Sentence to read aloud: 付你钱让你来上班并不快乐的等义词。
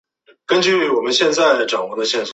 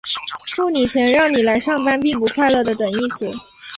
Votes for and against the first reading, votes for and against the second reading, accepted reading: 0, 4, 4, 0, second